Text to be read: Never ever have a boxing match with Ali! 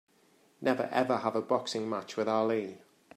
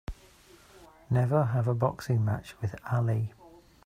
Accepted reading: first